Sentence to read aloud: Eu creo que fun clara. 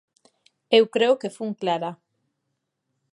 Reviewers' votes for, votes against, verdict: 2, 0, accepted